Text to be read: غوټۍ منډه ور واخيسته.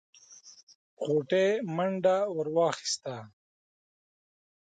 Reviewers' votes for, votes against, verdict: 2, 0, accepted